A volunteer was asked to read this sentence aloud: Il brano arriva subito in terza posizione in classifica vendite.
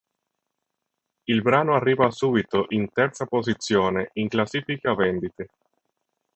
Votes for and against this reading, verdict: 3, 0, accepted